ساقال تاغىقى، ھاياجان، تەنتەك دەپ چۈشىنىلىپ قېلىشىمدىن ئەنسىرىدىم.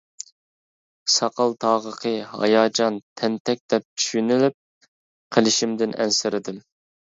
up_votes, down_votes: 2, 0